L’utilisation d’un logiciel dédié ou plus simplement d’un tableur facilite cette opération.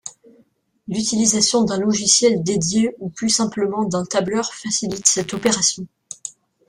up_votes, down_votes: 2, 1